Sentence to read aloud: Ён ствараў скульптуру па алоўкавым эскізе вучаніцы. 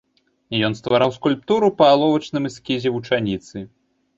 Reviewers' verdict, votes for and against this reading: rejected, 1, 2